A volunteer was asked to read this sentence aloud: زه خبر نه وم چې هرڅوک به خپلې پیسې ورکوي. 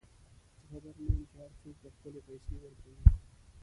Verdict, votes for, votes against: rejected, 1, 2